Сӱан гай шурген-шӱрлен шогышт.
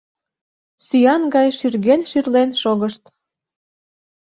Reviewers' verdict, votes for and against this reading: rejected, 1, 2